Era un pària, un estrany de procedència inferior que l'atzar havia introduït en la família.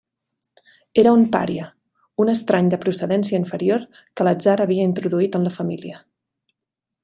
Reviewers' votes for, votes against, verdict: 3, 0, accepted